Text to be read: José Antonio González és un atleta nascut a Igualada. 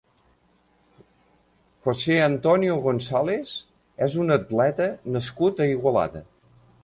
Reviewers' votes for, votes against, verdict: 2, 1, accepted